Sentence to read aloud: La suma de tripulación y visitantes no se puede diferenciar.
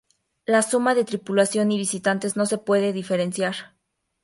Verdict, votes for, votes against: accepted, 2, 0